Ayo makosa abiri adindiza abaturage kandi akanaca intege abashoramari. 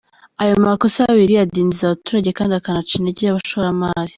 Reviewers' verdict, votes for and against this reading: accepted, 2, 0